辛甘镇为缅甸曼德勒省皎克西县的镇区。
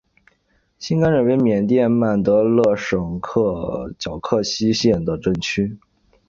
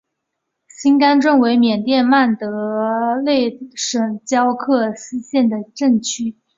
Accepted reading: first